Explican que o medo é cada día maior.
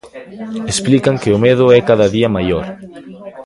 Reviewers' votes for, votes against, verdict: 2, 0, accepted